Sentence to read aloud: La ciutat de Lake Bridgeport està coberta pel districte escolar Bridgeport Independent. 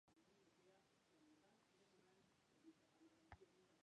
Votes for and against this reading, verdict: 0, 2, rejected